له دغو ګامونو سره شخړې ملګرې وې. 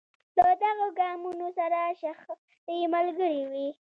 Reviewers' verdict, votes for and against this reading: accepted, 2, 0